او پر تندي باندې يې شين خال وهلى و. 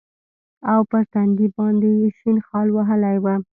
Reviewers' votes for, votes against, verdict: 0, 2, rejected